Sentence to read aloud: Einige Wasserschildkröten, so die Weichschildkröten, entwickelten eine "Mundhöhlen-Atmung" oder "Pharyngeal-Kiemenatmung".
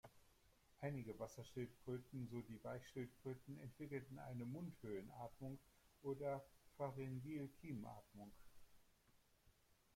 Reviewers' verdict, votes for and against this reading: accepted, 2, 1